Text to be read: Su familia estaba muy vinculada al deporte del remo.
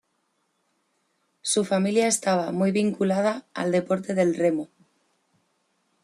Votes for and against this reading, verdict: 2, 0, accepted